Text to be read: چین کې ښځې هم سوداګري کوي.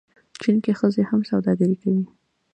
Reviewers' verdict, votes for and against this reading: accepted, 2, 0